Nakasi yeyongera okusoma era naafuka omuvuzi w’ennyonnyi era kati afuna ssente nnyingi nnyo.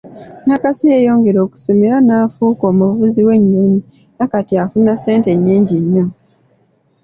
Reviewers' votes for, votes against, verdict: 2, 0, accepted